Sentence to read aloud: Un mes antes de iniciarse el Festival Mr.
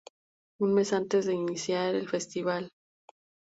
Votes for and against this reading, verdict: 0, 2, rejected